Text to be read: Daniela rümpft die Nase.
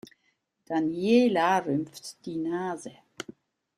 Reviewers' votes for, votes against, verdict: 2, 0, accepted